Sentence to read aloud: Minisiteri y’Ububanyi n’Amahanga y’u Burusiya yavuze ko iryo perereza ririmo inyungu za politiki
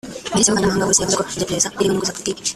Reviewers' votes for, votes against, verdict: 0, 2, rejected